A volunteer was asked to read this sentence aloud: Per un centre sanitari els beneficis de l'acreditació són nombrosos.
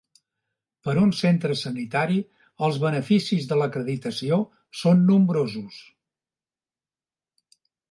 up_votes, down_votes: 2, 0